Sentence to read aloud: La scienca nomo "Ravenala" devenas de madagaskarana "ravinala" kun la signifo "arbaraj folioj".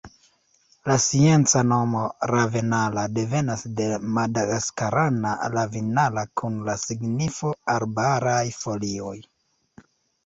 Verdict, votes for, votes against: rejected, 1, 2